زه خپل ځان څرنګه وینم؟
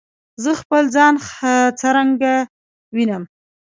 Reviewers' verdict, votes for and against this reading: rejected, 0, 2